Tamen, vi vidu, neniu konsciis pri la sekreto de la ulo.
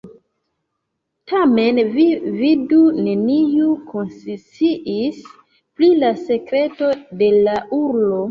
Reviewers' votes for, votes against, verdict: 0, 2, rejected